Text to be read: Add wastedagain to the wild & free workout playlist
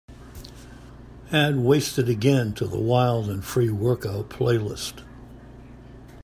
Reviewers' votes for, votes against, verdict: 2, 0, accepted